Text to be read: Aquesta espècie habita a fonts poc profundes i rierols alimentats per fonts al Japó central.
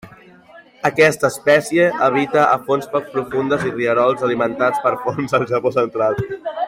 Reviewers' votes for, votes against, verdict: 2, 1, accepted